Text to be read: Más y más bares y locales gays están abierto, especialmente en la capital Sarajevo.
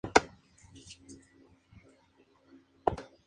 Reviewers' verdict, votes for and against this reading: accepted, 2, 0